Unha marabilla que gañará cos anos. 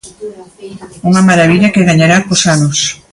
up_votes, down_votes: 2, 1